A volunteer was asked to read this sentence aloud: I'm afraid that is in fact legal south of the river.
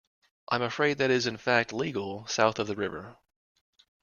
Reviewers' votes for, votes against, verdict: 2, 0, accepted